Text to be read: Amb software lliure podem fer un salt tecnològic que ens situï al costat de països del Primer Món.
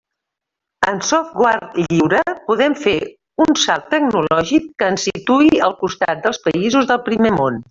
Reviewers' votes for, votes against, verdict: 0, 2, rejected